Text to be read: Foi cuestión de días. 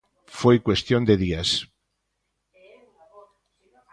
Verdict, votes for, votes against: rejected, 1, 2